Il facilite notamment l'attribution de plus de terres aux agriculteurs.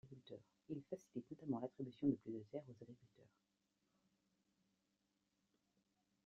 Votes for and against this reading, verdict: 1, 2, rejected